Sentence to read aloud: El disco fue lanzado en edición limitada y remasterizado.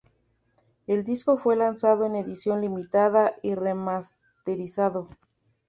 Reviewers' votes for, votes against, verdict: 2, 0, accepted